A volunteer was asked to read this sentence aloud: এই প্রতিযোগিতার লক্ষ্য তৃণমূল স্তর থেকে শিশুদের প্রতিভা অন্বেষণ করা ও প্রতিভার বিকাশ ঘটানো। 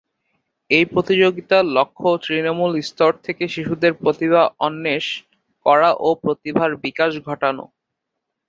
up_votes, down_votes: 0, 3